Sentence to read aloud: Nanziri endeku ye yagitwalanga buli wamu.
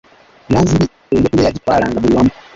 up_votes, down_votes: 0, 2